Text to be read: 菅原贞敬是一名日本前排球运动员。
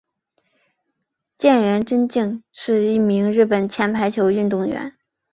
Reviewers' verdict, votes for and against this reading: accepted, 6, 3